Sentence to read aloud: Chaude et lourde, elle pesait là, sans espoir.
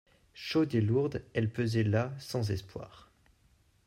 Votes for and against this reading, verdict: 2, 0, accepted